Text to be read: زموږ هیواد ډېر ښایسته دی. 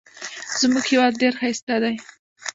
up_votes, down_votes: 0, 2